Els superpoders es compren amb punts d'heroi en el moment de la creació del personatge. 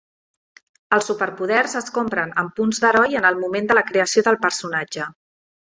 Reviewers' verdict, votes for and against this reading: accepted, 3, 0